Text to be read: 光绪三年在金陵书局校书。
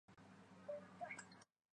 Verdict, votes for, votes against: rejected, 1, 3